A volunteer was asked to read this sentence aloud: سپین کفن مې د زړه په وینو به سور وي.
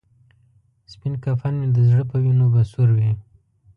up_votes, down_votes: 1, 2